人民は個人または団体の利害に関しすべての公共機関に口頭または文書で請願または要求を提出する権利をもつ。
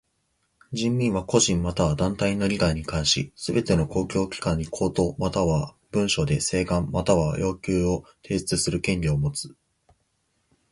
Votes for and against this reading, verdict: 2, 0, accepted